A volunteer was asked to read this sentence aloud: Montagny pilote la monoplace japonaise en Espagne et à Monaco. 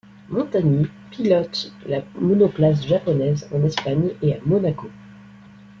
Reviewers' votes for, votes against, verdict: 2, 0, accepted